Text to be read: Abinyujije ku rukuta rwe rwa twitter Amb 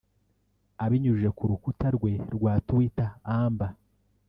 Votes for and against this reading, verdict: 0, 2, rejected